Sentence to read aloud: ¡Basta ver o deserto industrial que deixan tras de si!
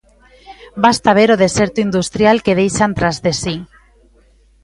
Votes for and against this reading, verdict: 2, 0, accepted